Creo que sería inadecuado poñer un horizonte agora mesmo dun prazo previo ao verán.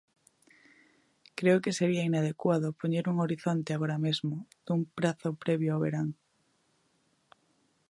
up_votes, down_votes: 2, 0